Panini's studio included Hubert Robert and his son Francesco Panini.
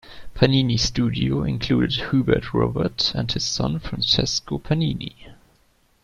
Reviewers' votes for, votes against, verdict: 2, 0, accepted